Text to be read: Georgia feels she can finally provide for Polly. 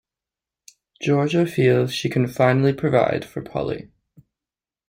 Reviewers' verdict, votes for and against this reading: accepted, 2, 0